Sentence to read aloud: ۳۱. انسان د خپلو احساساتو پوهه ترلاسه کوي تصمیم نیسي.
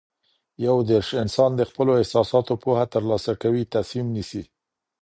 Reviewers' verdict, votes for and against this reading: rejected, 0, 2